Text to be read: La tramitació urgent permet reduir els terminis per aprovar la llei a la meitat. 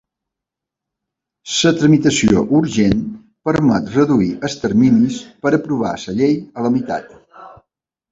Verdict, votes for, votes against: rejected, 1, 2